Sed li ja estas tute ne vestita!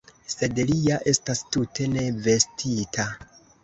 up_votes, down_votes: 2, 1